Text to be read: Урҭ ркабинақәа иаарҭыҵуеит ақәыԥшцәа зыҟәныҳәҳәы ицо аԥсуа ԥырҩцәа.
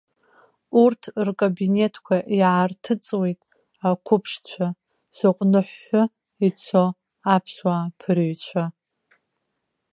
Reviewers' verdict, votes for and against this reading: rejected, 1, 2